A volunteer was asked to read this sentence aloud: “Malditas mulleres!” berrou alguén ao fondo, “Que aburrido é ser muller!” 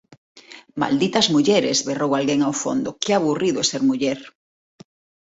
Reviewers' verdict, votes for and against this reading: accepted, 2, 0